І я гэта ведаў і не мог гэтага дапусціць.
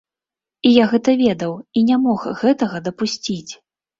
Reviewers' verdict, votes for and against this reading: accepted, 2, 0